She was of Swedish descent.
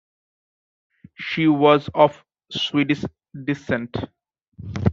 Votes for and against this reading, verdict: 2, 1, accepted